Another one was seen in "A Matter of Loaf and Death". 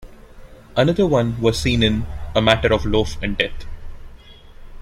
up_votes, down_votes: 2, 0